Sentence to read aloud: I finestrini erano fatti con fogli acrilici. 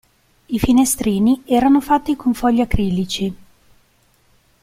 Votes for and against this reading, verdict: 1, 2, rejected